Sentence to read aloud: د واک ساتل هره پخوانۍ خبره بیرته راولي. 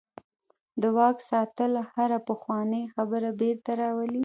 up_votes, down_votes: 1, 2